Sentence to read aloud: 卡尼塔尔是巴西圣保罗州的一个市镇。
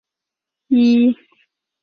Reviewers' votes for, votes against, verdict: 0, 3, rejected